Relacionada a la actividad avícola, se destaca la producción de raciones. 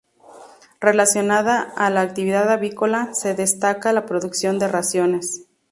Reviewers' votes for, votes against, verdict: 4, 0, accepted